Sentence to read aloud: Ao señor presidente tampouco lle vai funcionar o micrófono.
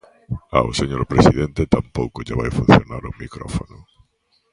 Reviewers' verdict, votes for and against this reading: accepted, 2, 0